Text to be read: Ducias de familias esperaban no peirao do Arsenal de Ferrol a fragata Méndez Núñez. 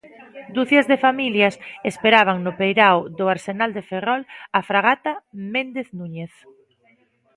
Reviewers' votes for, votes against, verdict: 2, 0, accepted